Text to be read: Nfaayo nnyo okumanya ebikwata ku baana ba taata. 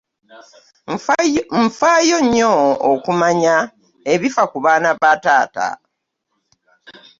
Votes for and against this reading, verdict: 0, 2, rejected